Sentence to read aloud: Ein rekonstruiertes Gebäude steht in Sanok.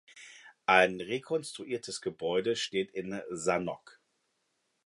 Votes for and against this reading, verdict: 2, 0, accepted